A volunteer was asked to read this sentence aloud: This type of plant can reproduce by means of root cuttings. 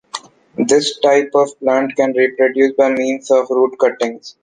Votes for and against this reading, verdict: 0, 2, rejected